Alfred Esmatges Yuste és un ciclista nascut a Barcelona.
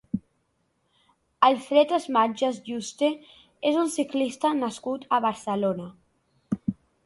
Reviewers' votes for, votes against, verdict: 2, 0, accepted